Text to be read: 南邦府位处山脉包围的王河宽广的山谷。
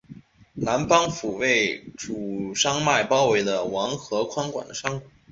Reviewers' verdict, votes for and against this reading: accepted, 8, 0